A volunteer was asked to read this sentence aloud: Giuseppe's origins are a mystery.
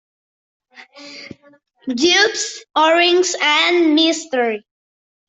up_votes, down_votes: 0, 2